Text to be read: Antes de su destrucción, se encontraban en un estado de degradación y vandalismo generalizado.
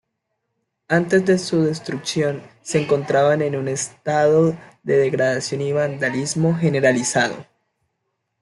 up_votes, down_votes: 2, 0